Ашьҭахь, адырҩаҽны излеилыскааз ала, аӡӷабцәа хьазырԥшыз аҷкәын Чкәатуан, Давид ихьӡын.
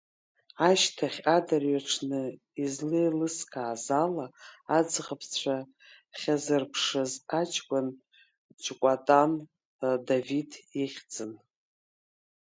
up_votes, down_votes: 1, 2